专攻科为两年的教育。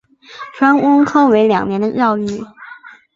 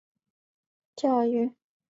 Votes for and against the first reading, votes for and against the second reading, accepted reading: 5, 1, 0, 2, first